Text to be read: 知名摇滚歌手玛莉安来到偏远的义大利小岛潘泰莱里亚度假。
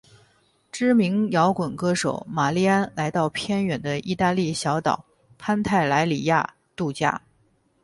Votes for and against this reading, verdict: 2, 2, rejected